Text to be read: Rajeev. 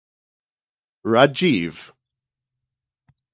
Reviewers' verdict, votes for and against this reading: accepted, 4, 0